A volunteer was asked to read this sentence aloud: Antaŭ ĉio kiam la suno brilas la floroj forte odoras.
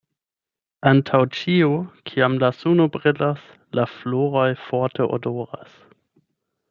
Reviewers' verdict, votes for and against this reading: accepted, 8, 0